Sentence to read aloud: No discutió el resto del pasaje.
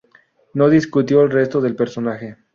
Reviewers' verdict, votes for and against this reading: rejected, 0, 2